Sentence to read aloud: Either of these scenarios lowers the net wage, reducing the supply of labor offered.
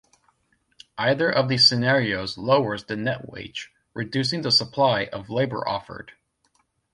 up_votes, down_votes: 2, 0